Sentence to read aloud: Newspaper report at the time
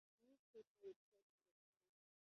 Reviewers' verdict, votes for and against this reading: rejected, 0, 2